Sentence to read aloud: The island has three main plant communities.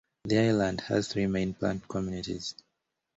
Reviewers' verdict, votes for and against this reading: accepted, 2, 0